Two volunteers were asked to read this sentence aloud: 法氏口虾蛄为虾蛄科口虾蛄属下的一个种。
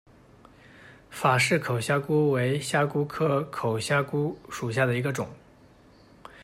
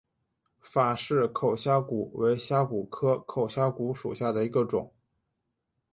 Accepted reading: first